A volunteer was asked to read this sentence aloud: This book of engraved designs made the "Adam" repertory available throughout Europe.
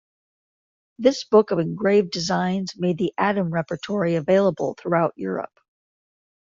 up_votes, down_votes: 2, 0